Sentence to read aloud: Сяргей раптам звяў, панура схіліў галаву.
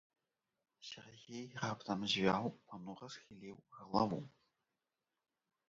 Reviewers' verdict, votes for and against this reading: rejected, 1, 2